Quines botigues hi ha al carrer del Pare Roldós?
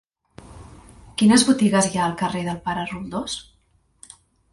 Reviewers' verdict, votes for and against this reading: accepted, 4, 0